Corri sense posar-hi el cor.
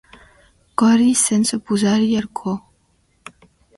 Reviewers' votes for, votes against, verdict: 1, 2, rejected